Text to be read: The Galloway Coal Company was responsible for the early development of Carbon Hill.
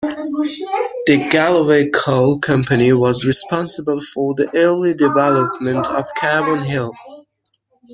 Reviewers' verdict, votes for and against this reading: accepted, 2, 1